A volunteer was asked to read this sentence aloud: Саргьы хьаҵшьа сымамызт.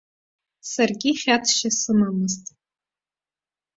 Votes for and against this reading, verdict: 2, 0, accepted